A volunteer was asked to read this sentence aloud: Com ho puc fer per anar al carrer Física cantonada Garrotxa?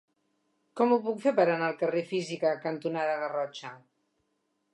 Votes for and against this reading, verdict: 3, 0, accepted